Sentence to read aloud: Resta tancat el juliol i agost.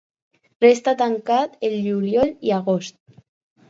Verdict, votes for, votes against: accepted, 4, 0